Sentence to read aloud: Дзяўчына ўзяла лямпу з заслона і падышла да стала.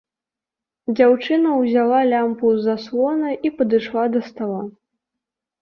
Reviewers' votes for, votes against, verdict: 2, 0, accepted